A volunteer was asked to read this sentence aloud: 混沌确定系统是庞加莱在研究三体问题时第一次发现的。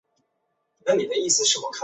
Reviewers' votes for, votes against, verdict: 1, 2, rejected